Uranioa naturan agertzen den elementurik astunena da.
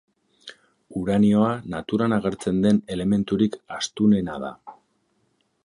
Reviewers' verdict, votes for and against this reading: accepted, 2, 0